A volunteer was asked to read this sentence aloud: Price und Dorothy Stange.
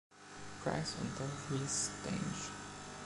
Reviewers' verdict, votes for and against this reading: accepted, 2, 0